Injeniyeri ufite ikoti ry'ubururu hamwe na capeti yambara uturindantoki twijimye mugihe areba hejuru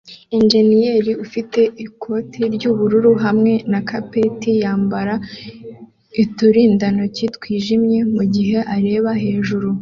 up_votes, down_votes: 2, 0